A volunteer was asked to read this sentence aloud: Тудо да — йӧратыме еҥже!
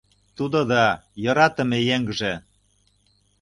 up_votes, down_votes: 2, 0